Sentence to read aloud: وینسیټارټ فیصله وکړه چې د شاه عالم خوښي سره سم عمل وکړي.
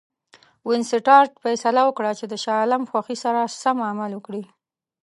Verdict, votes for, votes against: accepted, 2, 0